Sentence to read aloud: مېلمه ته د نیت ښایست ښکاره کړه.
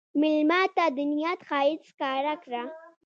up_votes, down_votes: 1, 2